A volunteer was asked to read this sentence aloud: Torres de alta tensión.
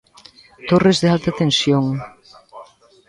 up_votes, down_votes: 1, 2